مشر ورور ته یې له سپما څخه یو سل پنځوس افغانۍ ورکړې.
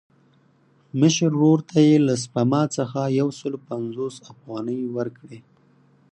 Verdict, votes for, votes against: accepted, 4, 0